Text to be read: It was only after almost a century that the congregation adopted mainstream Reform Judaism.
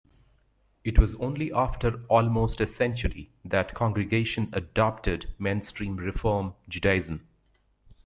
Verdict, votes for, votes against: rejected, 1, 2